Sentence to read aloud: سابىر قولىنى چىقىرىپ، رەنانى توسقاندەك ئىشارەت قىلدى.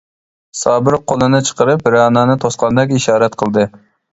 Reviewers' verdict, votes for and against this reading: accepted, 2, 0